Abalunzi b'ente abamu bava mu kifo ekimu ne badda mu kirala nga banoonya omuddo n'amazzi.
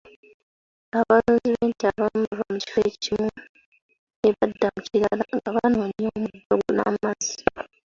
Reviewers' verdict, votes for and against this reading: accepted, 2, 1